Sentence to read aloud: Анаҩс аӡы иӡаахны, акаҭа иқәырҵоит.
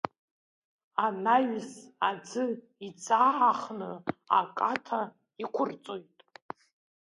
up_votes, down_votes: 0, 2